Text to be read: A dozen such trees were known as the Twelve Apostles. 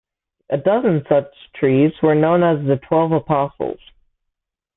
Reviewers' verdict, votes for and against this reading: accepted, 2, 0